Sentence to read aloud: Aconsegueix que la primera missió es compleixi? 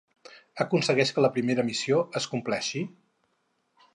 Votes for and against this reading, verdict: 2, 2, rejected